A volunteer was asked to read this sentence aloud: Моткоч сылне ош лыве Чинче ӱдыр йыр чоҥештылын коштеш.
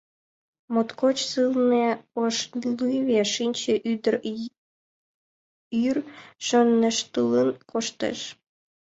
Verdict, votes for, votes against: rejected, 0, 2